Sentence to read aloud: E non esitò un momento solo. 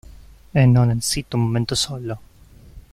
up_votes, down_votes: 0, 2